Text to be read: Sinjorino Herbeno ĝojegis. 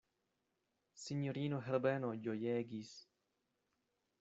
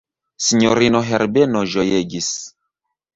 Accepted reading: second